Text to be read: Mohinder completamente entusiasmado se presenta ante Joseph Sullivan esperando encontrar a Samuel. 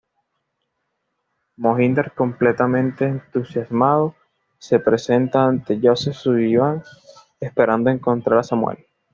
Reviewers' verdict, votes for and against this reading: accepted, 2, 0